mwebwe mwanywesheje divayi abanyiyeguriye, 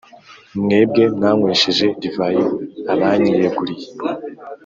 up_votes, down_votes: 4, 0